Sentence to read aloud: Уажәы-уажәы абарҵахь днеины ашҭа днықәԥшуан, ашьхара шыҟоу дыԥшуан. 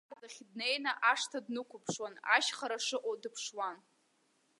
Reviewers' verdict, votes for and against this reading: rejected, 0, 2